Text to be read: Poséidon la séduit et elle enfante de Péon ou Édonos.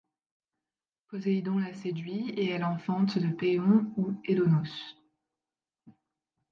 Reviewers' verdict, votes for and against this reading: rejected, 1, 2